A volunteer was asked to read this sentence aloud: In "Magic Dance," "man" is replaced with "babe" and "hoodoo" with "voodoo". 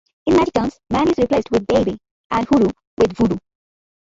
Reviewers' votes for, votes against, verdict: 2, 1, accepted